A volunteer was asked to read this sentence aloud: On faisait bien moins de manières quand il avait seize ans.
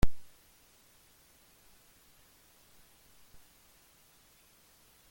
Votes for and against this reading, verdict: 0, 2, rejected